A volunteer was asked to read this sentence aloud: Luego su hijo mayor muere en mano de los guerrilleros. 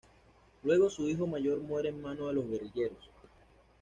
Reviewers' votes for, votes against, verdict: 2, 0, accepted